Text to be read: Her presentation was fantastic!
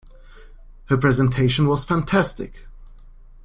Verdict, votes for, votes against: accepted, 2, 0